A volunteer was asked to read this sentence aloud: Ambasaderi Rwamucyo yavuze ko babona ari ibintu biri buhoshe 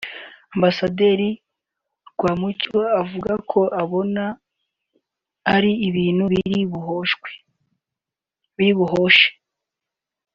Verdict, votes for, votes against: rejected, 0, 2